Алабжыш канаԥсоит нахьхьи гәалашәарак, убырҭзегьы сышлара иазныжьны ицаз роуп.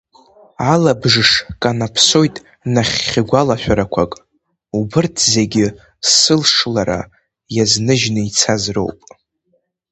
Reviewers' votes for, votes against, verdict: 1, 2, rejected